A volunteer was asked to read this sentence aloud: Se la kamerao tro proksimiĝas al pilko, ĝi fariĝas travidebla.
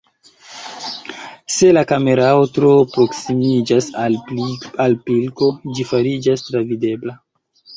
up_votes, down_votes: 2, 0